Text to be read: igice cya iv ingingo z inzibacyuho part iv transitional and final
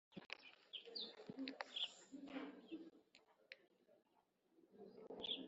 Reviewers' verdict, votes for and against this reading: rejected, 0, 2